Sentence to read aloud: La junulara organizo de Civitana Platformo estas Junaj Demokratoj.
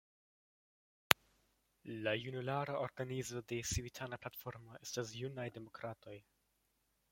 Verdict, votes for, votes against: rejected, 0, 2